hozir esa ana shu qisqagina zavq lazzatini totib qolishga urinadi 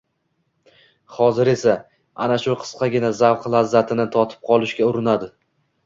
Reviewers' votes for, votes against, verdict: 2, 1, accepted